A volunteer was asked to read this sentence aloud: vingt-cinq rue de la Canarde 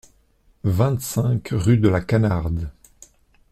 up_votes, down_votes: 2, 1